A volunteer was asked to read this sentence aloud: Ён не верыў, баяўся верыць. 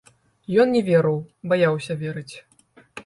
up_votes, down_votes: 2, 1